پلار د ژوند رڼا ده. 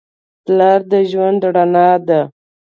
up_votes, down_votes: 2, 0